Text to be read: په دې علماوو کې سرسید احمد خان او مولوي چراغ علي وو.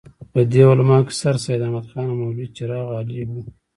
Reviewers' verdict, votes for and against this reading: rejected, 1, 2